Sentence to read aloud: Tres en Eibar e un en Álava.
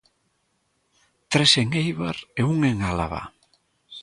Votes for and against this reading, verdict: 2, 0, accepted